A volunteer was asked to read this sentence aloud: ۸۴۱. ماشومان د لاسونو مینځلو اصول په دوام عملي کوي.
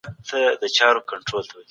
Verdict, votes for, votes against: rejected, 0, 2